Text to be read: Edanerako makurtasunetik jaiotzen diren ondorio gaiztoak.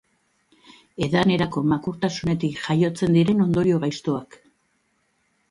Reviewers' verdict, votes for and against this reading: accepted, 3, 0